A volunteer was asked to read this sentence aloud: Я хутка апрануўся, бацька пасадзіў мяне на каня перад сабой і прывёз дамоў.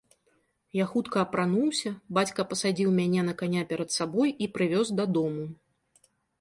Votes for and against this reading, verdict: 1, 2, rejected